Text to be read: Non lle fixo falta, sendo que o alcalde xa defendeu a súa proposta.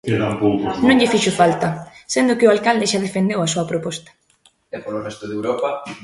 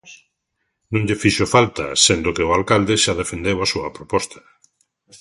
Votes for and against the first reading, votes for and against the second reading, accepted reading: 0, 2, 2, 0, second